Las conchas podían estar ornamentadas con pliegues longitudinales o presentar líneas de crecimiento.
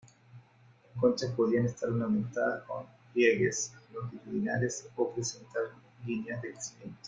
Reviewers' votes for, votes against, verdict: 2, 0, accepted